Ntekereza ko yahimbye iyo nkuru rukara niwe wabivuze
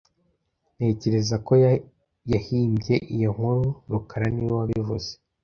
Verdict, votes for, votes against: rejected, 0, 2